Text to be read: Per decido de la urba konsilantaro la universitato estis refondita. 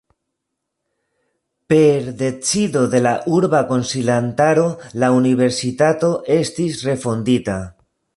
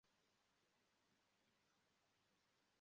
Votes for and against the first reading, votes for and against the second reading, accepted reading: 2, 0, 0, 2, first